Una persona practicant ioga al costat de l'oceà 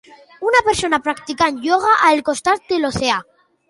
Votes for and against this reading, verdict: 2, 0, accepted